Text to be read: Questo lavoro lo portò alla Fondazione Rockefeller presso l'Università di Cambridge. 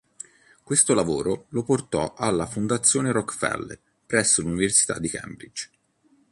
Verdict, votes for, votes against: accepted, 2, 1